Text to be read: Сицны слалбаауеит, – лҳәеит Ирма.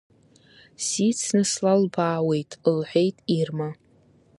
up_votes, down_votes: 2, 0